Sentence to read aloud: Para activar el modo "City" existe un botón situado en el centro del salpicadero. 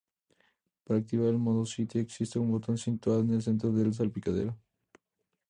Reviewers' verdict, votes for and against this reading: rejected, 0, 2